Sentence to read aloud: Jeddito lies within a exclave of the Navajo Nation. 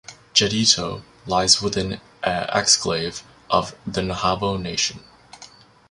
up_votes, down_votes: 0, 2